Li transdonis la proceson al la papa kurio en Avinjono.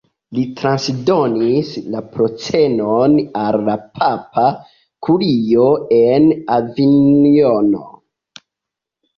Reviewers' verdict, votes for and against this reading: rejected, 0, 2